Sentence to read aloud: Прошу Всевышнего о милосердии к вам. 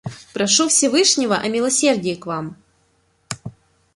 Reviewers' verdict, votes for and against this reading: accepted, 2, 0